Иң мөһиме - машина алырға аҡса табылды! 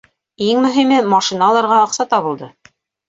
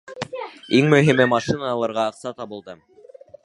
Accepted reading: first